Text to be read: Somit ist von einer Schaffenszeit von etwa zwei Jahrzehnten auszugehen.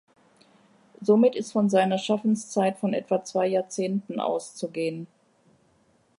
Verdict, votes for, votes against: rejected, 0, 2